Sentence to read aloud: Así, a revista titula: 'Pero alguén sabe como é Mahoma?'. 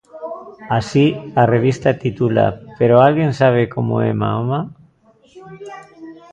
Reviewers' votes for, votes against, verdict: 1, 2, rejected